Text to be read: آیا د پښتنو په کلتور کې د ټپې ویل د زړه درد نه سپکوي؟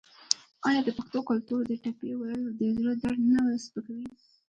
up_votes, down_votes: 2, 1